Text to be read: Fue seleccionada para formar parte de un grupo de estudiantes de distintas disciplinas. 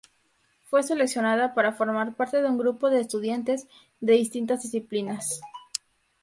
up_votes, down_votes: 2, 0